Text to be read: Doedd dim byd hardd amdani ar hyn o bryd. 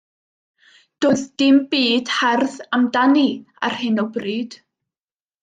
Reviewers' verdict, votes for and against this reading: accepted, 2, 0